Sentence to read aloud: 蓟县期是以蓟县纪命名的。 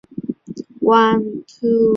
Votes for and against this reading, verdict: 0, 8, rejected